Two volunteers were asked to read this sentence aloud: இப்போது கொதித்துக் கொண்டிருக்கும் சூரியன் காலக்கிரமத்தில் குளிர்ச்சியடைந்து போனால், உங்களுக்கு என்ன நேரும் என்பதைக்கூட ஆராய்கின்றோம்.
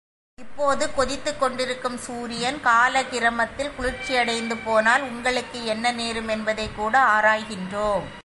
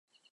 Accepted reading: first